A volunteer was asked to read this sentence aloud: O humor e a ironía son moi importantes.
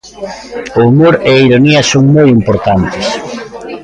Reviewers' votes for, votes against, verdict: 2, 0, accepted